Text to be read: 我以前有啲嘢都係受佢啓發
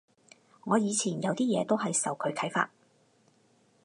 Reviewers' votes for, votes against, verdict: 4, 0, accepted